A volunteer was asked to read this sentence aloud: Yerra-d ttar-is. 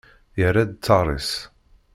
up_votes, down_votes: 2, 0